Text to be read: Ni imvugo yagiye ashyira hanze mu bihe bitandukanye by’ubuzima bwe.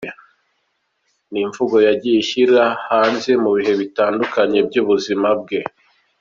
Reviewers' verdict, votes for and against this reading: rejected, 1, 2